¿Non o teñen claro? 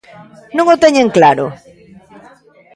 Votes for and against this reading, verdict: 1, 2, rejected